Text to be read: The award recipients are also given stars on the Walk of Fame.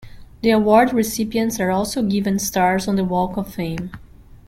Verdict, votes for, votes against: accepted, 2, 0